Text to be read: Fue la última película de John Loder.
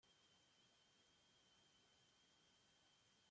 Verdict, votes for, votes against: rejected, 0, 2